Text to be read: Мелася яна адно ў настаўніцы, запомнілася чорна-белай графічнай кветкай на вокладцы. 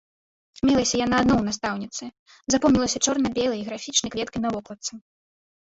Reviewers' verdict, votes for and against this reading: rejected, 1, 2